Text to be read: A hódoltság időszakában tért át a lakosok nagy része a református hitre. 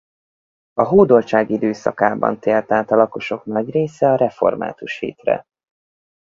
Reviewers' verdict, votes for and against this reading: rejected, 2, 2